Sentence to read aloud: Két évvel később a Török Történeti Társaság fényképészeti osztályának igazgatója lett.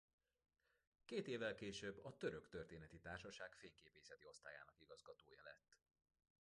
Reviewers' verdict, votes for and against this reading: rejected, 1, 2